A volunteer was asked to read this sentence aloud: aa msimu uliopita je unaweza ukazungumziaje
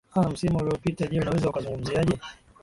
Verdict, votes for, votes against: accepted, 2, 1